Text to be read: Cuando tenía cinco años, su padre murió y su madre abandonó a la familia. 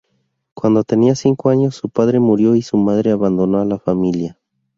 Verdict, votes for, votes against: accepted, 4, 0